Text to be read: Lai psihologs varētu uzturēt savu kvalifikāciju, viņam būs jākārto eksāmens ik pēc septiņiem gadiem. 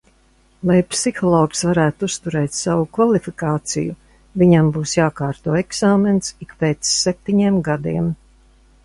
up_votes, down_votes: 2, 0